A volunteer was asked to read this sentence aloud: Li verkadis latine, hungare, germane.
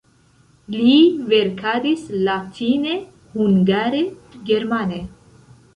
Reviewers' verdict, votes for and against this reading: accepted, 2, 0